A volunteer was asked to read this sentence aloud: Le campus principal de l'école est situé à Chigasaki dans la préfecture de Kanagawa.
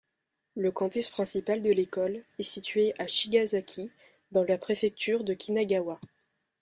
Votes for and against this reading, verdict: 1, 2, rejected